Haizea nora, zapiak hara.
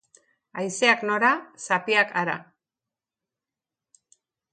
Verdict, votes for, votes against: rejected, 1, 3